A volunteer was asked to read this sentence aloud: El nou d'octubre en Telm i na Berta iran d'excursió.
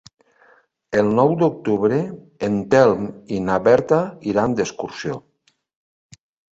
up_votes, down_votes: 3, 0